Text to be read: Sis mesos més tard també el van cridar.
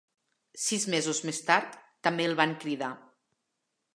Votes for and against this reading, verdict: 3, 0, accepted